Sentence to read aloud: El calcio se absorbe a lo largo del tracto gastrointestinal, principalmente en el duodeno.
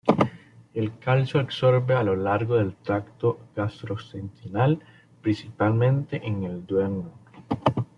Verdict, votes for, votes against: rejected, 1, 2